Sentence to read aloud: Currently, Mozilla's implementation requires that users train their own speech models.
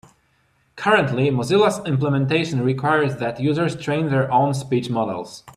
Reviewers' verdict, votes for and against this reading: accepted, 2, 0